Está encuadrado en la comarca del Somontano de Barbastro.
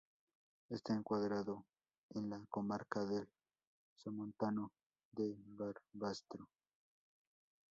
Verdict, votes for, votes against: rejected, 0, 2